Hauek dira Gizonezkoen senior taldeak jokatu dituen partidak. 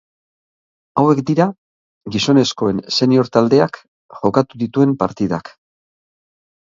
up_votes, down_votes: 3, 0